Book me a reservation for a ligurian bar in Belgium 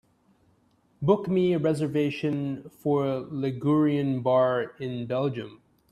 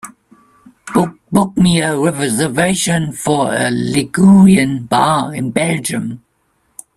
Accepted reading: first